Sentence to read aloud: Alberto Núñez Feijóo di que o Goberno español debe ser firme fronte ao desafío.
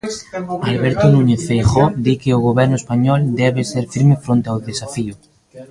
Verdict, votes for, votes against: rejected, 0, 2